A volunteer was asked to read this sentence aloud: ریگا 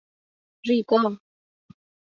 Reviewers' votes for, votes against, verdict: 3, 0, accepted